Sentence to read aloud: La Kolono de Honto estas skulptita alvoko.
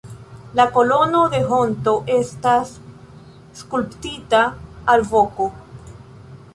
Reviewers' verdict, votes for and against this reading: rejected, 1, 2